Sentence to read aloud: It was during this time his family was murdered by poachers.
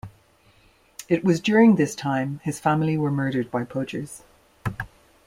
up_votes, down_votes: 1, 2